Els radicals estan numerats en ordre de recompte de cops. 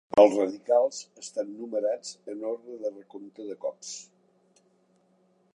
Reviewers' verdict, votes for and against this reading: rejected, 0, 2